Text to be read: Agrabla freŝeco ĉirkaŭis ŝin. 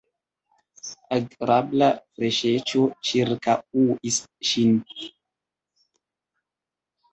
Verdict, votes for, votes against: rejected, 1, 3